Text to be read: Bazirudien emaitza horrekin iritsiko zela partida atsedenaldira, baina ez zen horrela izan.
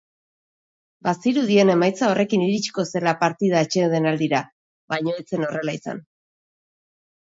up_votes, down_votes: 2, 0